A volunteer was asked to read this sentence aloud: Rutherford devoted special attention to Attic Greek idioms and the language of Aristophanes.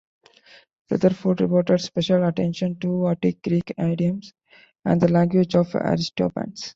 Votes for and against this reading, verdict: 0, 2, rejected